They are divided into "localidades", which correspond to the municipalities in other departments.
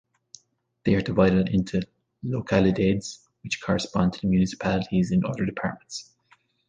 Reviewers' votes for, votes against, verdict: 1, 2, rejected